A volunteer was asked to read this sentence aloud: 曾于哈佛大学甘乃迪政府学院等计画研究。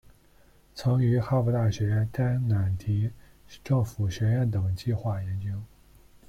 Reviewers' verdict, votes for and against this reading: rejected, 0, 2